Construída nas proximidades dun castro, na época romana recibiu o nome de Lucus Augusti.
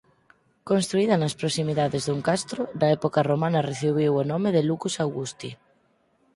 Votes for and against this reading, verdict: 2, 4, rejected